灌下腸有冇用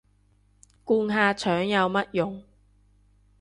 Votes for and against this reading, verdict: 0, 2, rejected